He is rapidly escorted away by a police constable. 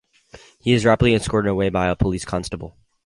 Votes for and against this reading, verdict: 4, 0, accepted